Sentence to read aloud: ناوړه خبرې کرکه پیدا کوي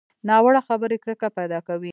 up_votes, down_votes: 1, 2